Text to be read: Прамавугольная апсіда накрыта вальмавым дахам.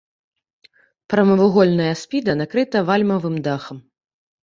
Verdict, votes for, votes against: rejected, 0, 2